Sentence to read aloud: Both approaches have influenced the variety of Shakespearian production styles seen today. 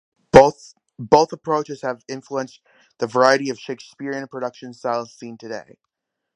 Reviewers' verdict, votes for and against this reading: rejected, 0, 2